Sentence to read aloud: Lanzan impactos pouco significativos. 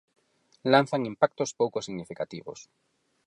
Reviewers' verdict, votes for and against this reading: accepted, 4, 0